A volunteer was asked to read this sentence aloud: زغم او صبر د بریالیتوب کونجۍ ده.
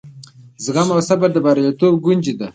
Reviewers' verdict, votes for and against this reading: rejected, 0, 2